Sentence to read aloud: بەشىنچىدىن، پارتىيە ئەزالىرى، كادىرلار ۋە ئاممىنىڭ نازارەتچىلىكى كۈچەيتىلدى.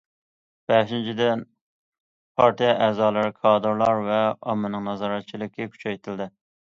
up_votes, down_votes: 2, 0